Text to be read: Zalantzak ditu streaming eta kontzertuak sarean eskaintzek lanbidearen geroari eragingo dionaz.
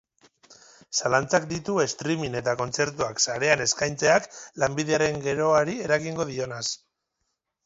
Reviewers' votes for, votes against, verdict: 0, 2, rejected